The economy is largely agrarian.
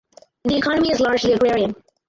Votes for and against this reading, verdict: 2, 2, rejected